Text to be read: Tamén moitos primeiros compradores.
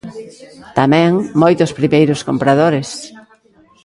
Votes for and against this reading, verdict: 1, 2, rejected